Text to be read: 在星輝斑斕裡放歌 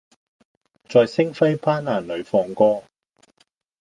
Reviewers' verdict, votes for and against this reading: accepted, 2, 0